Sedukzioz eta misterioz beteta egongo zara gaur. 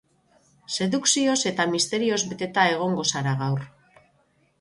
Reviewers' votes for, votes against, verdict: 3, 3, rejected